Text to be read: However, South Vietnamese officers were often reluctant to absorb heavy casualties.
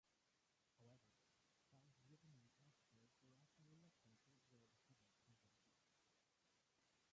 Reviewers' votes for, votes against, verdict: 0, 2, rejected